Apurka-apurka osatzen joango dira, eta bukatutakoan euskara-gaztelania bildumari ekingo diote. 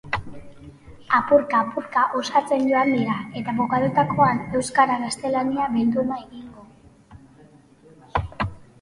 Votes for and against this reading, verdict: 0, 2, rejected